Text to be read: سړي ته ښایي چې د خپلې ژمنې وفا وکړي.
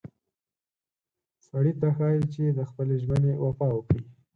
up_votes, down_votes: 4, 0